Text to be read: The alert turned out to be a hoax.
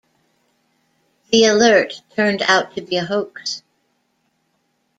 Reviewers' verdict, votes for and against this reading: accepted, 2, 0